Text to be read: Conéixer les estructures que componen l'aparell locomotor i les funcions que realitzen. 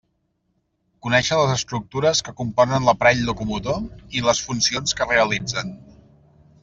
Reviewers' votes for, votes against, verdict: 2, 0, accepted